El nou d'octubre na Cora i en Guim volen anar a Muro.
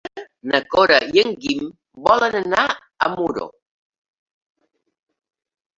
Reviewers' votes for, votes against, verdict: 0, 2, rejected